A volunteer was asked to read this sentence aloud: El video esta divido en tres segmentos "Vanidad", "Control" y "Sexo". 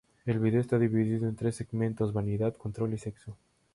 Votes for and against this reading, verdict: 2, 0, accepted